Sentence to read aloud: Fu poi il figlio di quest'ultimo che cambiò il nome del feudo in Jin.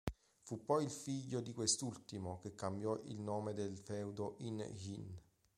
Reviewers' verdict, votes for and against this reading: accepted, 2, 0